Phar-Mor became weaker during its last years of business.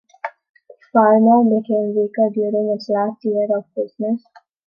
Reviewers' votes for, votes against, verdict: 3, 2, accepted